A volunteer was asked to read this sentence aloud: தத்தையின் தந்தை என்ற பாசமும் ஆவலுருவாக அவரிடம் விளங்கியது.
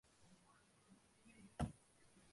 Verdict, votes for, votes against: rejected, 0, 2